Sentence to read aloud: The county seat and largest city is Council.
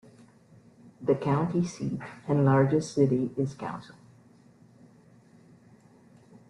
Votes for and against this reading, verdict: 2, 1, accepted